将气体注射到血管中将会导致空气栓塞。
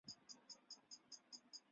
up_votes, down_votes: 0, 3